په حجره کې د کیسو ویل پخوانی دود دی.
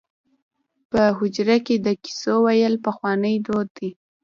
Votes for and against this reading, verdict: 2, 0, accepted